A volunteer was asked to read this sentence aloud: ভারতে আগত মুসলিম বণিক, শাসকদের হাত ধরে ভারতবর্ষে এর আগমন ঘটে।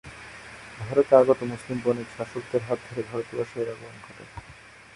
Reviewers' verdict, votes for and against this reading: rejected, 4, 4